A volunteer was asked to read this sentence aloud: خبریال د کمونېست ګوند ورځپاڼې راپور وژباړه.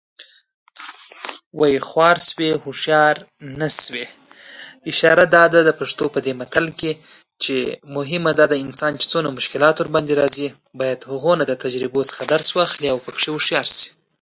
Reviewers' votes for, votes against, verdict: 0, 2, rejected